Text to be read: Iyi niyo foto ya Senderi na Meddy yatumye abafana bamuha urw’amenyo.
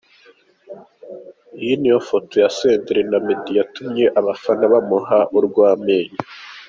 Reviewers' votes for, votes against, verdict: 2, 1, accepted